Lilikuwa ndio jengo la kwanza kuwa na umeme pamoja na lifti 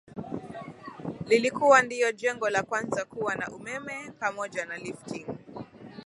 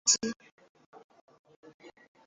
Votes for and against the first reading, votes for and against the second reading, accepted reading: 2, 0, 0, 2, first